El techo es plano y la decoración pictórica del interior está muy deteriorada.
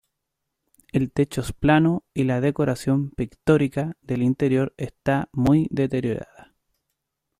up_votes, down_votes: 2, 0